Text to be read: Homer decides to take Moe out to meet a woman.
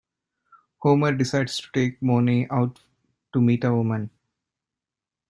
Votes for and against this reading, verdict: 0, 2, rejected